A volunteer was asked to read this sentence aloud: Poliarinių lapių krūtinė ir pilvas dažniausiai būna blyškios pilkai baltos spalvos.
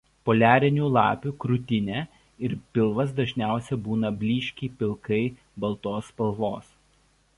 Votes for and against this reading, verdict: 0, 2, rejected